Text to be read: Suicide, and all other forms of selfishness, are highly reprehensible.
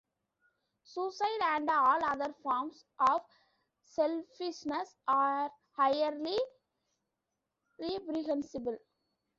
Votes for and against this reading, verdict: 0, 3, rejected